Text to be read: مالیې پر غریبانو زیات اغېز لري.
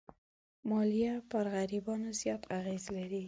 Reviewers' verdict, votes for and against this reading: rejected, 1, 2